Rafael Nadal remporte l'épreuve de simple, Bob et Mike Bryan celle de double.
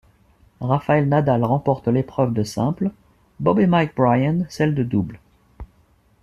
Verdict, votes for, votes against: accepted, 2, 0